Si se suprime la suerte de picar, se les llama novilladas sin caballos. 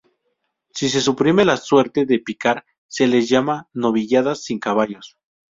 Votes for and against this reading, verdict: 0, 2, rejected